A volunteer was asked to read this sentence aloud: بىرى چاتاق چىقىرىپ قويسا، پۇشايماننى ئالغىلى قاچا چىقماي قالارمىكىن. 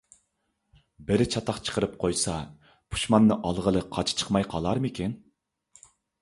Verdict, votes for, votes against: rejected, 0, 2